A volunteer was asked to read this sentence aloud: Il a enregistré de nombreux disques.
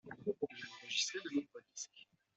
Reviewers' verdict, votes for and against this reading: rejected, 0, 2